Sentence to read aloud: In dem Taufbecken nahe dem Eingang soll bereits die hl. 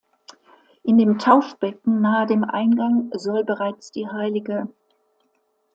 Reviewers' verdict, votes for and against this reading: rejected, 0, 2